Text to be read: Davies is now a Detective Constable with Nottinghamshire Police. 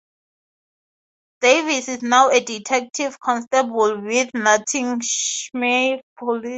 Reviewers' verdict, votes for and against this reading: rejected, 0, 2